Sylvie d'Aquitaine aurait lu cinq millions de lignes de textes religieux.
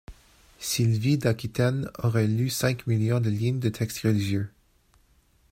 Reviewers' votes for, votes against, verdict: 2, 0, accepted